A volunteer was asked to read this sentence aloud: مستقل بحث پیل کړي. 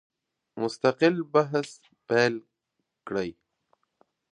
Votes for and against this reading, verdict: 1, 2, rejected